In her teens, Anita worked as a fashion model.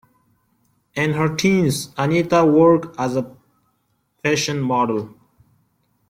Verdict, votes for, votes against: rejected, 1, 2